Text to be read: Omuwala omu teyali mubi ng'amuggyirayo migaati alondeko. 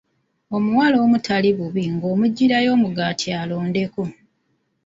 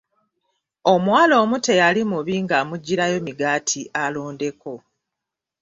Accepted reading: second